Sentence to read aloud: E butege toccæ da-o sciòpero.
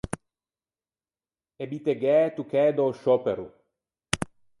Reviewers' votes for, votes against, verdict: 0, 4, rejected